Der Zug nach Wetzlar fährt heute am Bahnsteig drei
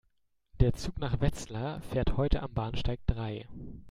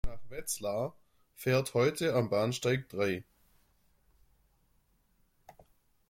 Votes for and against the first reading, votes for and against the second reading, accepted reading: 2, 0, 0, 5, first